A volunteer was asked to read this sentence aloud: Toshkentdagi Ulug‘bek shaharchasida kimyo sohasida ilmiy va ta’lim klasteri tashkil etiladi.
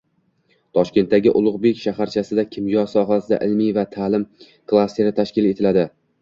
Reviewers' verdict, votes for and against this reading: accepted, 2, 1